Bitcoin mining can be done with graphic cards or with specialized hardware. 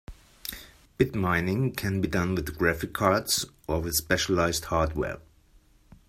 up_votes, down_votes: 2, 3